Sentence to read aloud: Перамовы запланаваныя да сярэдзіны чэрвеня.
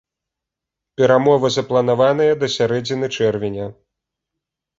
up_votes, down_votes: 2, 0